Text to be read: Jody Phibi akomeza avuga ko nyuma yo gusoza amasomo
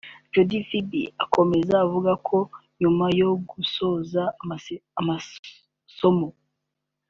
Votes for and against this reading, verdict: 1, 2, rejected